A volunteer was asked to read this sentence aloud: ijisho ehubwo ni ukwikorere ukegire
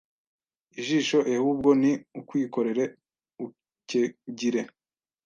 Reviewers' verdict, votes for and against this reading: rejected, 1, 2